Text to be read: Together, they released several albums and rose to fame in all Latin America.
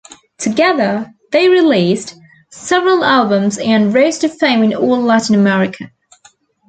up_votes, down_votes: 2, 1